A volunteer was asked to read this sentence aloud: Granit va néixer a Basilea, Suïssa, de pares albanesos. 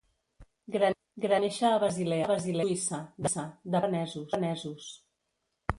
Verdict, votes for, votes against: rejected, 0, 2